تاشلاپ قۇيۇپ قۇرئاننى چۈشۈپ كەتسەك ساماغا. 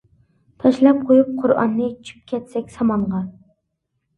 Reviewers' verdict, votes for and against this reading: rejected, 0, 2